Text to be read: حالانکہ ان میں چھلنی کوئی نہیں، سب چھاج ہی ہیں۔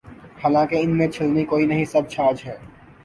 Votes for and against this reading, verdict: 2, 2, rejected